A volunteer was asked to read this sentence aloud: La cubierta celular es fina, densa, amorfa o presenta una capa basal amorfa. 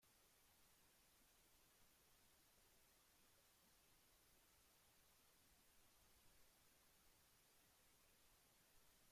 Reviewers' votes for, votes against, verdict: 0, 2, rejected